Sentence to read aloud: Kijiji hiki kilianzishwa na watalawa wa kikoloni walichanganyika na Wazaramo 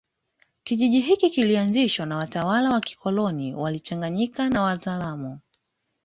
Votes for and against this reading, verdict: 2, 0, accepted